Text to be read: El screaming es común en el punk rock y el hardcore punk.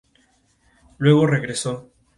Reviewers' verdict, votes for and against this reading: rejected, 0, 2